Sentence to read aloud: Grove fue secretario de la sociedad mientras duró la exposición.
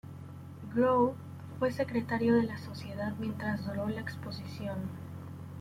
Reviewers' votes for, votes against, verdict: 2, 0, accepted